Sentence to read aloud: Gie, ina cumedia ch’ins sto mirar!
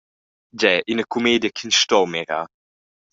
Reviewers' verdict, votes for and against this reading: accepted, 2, 0